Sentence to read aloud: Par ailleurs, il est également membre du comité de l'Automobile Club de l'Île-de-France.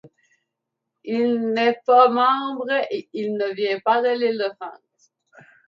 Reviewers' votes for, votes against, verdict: 0, 2, rejected